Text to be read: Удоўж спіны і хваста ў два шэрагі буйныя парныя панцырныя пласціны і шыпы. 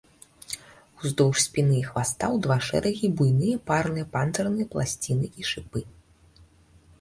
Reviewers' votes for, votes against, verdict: 2, 1, accepted